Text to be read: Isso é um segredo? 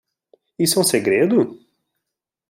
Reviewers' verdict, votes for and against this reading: accepted, 2, 0